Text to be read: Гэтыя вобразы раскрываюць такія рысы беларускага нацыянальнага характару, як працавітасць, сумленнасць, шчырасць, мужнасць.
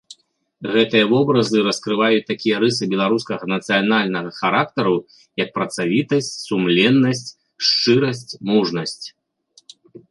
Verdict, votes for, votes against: accepted, 2, 0